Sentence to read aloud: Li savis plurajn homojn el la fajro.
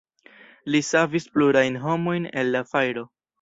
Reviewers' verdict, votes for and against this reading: accepted, 2, 0